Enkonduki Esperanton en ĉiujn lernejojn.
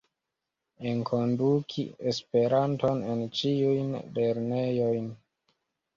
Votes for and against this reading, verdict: 2, 0, accepted